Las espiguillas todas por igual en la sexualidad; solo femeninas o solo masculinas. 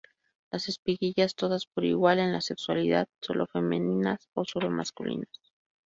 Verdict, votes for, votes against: accepted, 2, 0